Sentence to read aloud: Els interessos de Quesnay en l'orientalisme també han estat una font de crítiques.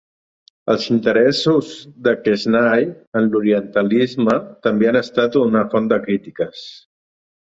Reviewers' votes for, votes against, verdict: 2, 0, accepted